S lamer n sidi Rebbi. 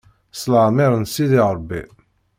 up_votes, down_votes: 1, 2